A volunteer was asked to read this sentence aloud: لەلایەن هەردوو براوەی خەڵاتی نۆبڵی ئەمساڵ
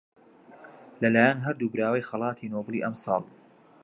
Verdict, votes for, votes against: accepted, 2, 0